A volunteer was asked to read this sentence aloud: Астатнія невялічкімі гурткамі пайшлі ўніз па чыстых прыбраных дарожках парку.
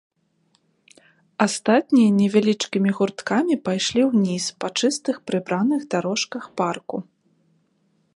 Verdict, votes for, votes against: accepted, 3, 0